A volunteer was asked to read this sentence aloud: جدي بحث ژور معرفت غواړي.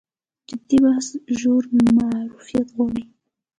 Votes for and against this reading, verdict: 2, 0, accepted